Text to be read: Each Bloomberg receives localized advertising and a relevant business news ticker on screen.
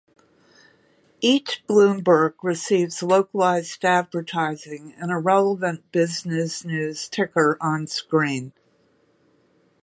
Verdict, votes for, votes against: accepted, 2, 1